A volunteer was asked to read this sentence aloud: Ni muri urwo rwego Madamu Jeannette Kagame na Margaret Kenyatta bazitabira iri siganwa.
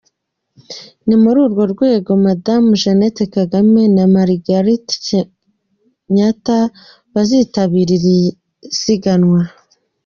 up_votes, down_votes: 2, 1